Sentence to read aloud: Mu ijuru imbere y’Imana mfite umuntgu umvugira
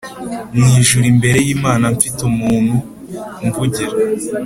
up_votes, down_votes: 3, 0